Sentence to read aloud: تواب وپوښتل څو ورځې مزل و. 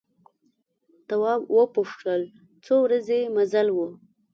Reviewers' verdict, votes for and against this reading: accepted, 3, 0